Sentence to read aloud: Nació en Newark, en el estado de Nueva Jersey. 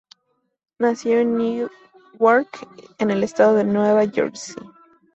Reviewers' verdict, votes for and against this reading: rejected, 0, 2